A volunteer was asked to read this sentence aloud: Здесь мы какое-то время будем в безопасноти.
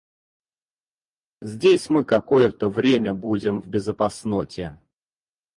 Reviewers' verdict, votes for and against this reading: rejected, 2, 4